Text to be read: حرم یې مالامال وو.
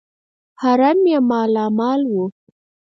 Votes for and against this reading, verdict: 2, 4, rejected